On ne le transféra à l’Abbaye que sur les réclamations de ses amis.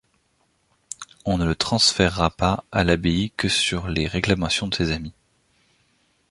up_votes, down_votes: 1, 2